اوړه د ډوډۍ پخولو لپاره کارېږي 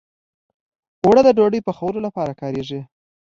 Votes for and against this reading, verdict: 2, 0, accepted